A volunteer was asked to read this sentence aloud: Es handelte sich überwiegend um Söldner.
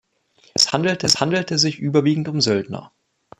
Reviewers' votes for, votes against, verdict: 0, 2, rejected